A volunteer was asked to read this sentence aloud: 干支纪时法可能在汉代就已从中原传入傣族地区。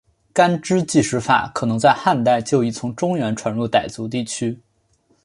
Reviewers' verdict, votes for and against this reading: accepted, 3, 0